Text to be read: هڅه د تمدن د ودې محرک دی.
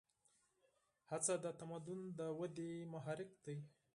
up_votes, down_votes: 2, 4